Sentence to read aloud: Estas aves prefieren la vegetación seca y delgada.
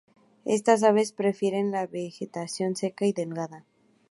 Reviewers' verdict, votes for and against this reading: rejected, 0, 2